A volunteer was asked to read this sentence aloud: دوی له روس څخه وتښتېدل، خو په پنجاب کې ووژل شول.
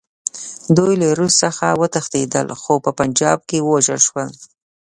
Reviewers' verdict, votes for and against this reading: accepted, 2, 0